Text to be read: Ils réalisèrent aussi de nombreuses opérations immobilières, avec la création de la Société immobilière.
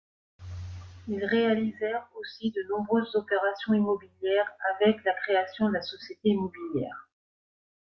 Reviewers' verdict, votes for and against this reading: accepted, 2, 1